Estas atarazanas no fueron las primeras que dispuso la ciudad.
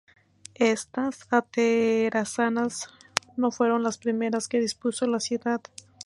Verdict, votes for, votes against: rejected, 0, 4